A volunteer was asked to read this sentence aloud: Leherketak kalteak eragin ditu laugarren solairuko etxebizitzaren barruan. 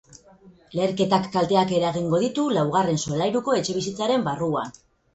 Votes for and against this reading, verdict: 0, 4, rejected